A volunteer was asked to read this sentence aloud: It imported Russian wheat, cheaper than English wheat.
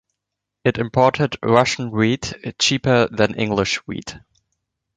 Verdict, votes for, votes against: accepted, 2, 0